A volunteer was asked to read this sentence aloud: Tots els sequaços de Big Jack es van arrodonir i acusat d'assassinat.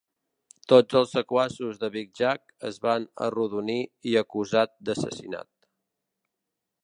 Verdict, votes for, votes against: accepted, 2, 0